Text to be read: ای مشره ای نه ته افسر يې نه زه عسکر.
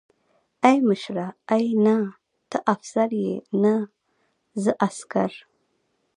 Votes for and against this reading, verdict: 1, 2, rejected